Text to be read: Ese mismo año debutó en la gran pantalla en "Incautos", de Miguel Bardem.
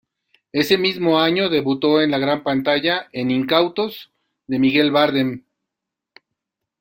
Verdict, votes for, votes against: rejected, 1, 2